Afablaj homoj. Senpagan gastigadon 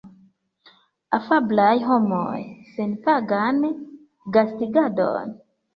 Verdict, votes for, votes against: rejected, 0, 2